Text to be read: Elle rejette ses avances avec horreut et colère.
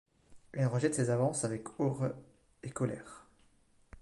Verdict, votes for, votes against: rejected, 1, 2